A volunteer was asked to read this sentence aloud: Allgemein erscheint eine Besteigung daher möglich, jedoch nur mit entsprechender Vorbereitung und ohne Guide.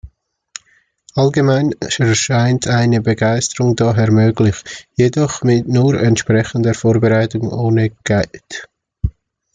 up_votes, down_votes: 0, 2